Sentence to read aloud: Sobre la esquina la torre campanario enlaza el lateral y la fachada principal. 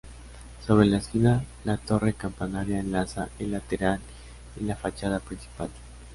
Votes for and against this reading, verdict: 0, 2, rejected